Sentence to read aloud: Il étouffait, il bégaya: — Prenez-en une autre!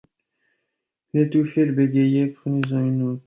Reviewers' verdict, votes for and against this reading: rejected, 1, 2